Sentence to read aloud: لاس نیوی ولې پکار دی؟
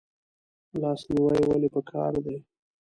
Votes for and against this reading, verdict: 0, 2, rejected